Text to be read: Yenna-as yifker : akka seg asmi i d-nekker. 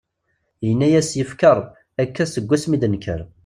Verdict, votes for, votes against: rejected, 0, 2